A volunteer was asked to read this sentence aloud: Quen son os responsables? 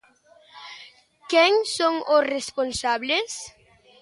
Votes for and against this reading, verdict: 2, 0, accepted